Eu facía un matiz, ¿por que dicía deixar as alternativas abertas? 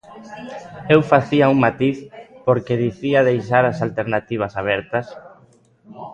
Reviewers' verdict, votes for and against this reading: rejected, 1, 2